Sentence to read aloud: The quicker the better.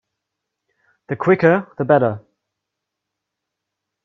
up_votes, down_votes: 2, 0